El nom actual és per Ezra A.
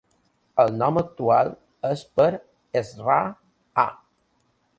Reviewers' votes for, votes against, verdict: 2, 0, accepted